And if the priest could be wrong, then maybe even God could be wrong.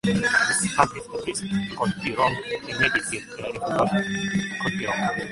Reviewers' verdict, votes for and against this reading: rejected, 0, 2